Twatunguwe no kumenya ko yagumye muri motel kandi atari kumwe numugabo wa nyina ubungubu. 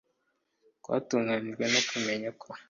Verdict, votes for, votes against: rejected, 0, 2